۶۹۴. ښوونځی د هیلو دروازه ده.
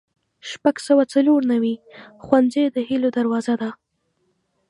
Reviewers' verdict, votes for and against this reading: rejected, 0, 2